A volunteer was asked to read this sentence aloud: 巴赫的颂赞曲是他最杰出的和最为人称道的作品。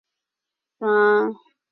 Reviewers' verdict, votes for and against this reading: rejected, 1, 2